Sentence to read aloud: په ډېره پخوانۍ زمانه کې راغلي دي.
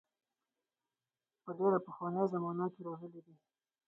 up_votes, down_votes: 0, 4